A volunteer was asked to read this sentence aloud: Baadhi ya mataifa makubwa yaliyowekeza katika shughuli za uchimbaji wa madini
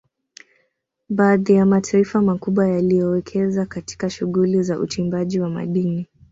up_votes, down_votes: 1, 2